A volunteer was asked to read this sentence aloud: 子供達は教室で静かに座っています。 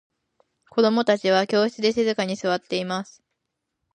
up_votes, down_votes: 2, 0